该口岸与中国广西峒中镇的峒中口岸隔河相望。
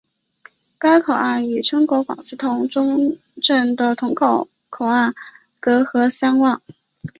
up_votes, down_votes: 3, 0